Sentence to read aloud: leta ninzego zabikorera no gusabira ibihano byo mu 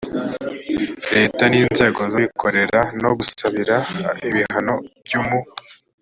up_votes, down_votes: 0, 2